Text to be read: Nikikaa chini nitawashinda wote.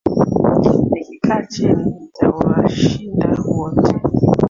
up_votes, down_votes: 0, 2